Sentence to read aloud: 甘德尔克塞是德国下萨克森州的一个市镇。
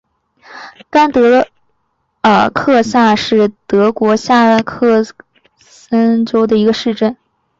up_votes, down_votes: 0, 2